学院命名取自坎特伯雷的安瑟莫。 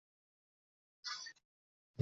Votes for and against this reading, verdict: 0, 4, rejected